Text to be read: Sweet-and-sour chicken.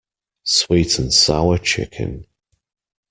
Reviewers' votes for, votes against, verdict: 2, 0, accepted